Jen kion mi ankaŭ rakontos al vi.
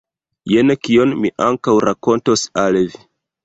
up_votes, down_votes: 0, 2